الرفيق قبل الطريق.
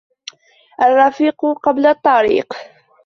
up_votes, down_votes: 2, 0